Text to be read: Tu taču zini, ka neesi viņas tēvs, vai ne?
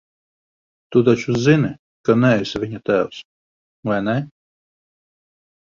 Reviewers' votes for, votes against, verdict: 1, 3, rejected